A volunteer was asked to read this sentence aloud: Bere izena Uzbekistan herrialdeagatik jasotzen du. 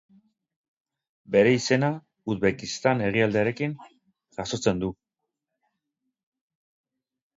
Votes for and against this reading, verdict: 4, 8, rejected